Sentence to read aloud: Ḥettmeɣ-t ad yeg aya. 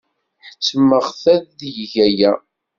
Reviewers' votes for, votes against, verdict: 1, 2, rejected